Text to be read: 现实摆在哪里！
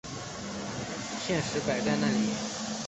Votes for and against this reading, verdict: 4, 0, accepted